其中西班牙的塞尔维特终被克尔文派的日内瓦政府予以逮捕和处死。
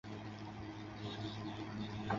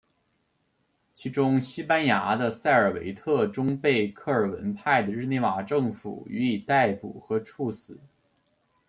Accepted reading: second